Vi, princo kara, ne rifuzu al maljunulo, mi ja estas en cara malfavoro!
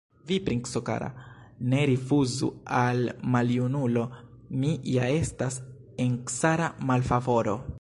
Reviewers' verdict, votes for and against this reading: accepted, 2, 1